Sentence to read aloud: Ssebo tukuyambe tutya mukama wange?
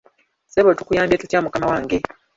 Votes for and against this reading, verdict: 2, 0, accepted